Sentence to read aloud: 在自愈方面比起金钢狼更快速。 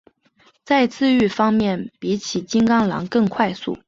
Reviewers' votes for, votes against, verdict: 2, 0, accepted